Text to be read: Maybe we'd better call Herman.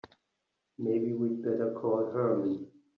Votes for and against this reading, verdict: 0, 3, rejected